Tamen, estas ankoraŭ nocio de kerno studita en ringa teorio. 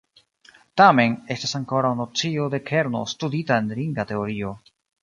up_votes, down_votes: 2, 0